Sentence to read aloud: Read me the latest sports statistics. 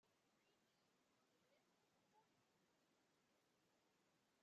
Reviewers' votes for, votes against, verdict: 0, 2, rejected